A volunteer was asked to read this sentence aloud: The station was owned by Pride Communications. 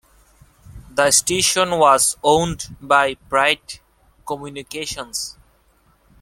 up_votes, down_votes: 2, 0